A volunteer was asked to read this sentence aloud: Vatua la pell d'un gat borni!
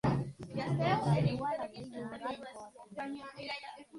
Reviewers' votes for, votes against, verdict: 1, 2, rejected